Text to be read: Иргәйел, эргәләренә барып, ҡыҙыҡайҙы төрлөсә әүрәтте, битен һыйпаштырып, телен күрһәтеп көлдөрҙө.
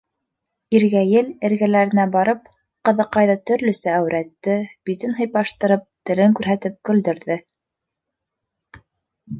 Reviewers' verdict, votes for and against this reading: accepted, 3, 0